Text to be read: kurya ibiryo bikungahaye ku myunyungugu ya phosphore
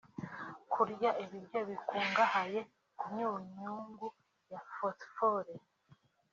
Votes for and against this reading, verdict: 0, 3, rejected